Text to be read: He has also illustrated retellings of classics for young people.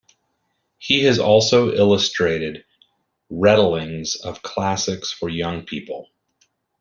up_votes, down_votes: 0, 2